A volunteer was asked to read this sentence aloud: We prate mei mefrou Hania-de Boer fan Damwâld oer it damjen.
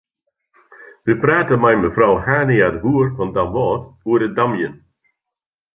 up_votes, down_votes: 2, 0